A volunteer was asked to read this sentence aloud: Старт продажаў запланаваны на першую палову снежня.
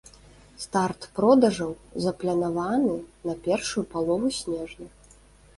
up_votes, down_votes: 1, 2